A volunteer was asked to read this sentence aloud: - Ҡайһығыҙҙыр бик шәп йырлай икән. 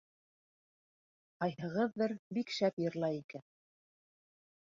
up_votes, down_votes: 2, 0